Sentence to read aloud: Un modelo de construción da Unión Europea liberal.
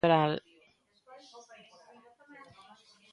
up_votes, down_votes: 0, 4